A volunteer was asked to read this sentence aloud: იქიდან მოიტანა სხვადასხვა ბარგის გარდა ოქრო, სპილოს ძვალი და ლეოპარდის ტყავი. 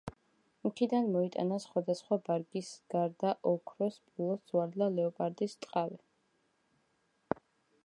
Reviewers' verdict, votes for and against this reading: accepted, 2, 0